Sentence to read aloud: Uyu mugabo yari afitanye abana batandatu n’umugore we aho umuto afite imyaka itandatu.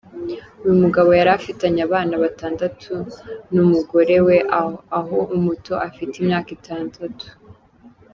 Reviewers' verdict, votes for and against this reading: rejected, 1, 2